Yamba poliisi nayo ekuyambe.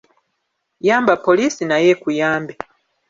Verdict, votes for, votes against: accepted, 2, 0